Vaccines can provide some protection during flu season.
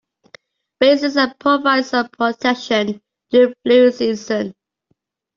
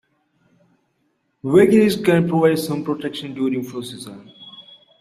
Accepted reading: first